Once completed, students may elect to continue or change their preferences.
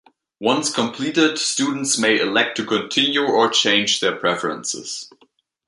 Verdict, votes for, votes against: accepted, 2, 0